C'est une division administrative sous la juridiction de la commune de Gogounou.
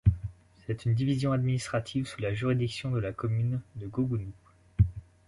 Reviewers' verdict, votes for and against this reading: accepted, 2, 0